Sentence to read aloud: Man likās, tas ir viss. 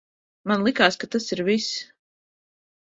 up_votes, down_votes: 0, 2